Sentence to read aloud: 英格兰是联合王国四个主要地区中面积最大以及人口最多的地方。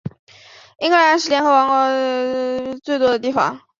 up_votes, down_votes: 0, 6